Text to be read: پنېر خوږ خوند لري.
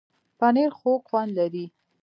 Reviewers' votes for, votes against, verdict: 2, 0, accepted